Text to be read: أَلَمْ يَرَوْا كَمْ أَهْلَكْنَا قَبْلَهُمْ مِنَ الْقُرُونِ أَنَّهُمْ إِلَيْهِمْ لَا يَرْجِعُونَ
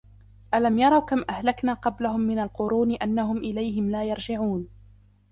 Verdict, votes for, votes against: rejected, 1, 2